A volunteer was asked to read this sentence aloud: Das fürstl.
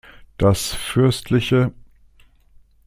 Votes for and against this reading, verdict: 0, 2, rejected